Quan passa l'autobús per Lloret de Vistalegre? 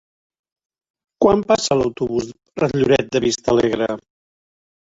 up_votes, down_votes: 1, 2